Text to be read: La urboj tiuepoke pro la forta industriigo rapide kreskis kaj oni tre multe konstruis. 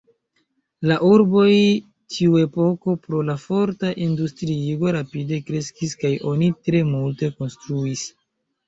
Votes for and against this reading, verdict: 2, 1, accepted